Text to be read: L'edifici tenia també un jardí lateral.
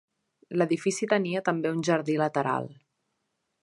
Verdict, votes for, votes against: accepted, 3, 0